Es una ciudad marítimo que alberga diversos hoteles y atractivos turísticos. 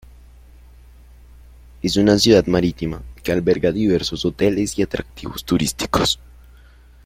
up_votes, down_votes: 1, 3